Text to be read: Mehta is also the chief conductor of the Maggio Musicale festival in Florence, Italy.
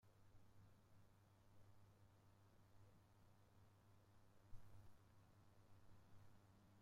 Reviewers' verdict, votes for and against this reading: rejected, 0, 2